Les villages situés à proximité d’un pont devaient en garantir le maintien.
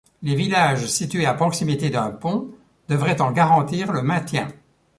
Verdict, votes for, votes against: rejected, 1, 2